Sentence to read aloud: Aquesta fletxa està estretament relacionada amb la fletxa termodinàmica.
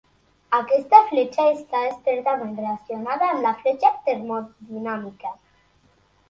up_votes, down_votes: 2, 1